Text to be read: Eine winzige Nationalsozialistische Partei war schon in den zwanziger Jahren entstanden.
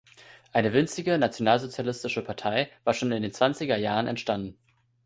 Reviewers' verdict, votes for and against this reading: accepted, 2, 1